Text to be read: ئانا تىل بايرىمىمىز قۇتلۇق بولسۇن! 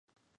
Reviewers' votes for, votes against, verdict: 0, 2, rejected